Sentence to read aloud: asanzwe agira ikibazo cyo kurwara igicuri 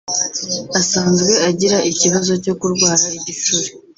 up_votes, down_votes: 2, 0